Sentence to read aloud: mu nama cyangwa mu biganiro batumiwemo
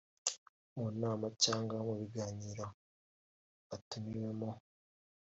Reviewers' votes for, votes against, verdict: 2, 1, accepted